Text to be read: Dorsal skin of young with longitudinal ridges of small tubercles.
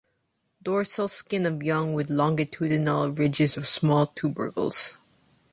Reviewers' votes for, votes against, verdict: 2, 0, accepted